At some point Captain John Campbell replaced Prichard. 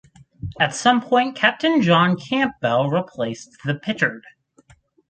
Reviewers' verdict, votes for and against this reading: rejected, 0, 4